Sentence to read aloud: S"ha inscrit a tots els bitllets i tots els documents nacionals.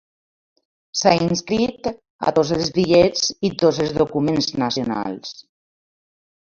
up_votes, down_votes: 0, 2